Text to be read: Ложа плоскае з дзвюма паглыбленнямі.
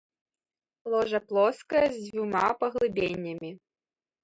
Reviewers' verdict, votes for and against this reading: rejected, 1, 2